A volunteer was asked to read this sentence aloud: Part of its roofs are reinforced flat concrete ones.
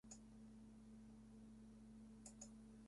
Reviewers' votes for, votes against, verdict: 0, 2, rejected